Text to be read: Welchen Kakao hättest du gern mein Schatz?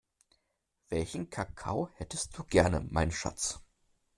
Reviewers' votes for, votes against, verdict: 1, 2, rejected